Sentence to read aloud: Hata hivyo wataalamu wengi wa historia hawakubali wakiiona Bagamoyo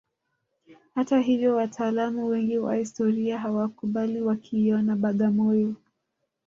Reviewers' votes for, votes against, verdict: 3, 0, accepted